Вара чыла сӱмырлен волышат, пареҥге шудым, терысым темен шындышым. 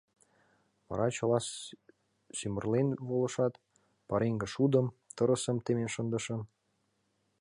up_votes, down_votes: 1, 2